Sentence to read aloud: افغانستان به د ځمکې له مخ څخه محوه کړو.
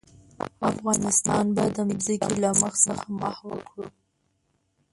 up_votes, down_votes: 0, 2